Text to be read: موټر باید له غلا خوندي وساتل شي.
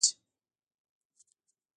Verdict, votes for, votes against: rejected, 0, 2